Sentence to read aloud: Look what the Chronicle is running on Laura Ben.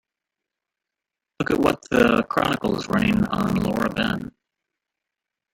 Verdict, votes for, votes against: rejected, 0, 2